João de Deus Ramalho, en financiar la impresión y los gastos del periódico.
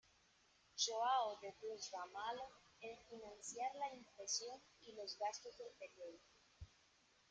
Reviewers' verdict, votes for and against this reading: rejected, 0, 2